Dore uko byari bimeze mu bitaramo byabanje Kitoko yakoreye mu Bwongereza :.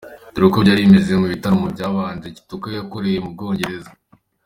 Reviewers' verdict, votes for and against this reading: accepted, 3, 0